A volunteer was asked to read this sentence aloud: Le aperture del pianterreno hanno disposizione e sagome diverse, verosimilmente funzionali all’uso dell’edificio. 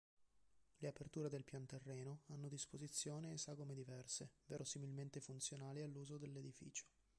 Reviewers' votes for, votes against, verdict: 1, 3, rejected